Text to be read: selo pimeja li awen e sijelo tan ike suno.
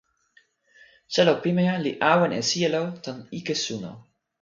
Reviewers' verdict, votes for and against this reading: accepted, 2, 0